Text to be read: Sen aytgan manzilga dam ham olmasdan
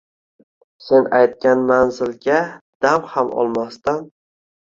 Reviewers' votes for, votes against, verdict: 2, 1, accepted